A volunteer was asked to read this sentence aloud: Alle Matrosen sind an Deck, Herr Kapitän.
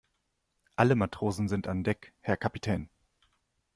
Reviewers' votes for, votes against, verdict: 2, 0, accepted